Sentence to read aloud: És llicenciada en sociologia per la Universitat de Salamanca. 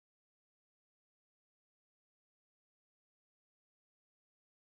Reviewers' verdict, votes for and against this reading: rejected, 1, 2